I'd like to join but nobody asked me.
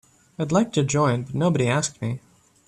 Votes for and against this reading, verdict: 1, 2, rejected